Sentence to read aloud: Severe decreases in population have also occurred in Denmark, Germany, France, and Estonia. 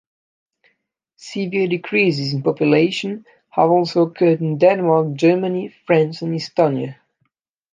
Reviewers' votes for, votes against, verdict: 2, 0, accepted